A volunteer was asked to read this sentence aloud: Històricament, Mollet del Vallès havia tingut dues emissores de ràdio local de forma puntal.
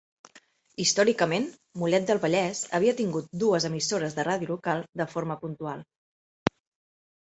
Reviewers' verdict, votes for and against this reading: rejected, 1, 2